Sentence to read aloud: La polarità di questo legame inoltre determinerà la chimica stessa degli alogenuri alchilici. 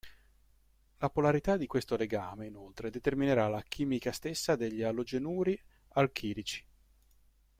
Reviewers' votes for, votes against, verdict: 2, 0, accepted